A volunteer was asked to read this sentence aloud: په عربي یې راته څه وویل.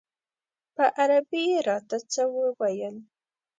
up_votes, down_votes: 2, 0